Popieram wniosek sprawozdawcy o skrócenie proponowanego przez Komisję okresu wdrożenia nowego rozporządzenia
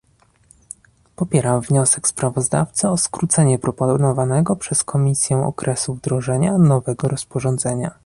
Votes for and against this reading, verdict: 2, 0, accepted